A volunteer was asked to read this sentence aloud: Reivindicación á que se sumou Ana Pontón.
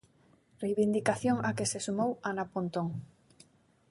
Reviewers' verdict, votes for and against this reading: accepted, 4, 3